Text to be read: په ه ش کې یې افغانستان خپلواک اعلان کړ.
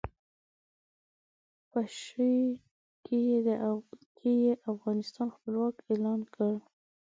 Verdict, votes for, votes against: rejected, 0, 2